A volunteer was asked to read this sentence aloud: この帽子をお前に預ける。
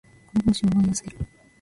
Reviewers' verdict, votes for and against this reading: rejected, 0, 2